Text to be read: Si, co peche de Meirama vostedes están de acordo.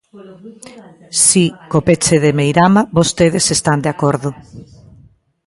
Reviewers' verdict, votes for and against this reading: rejected, 0, 2